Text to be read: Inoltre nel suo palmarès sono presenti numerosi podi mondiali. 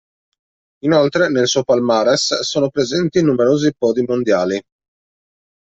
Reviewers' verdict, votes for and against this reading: rejected, 1, 2